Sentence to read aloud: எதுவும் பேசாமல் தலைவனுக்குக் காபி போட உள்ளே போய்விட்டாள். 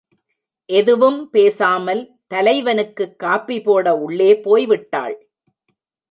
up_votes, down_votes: 1, 2